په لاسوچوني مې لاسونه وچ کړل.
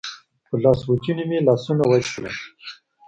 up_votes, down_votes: 2, 0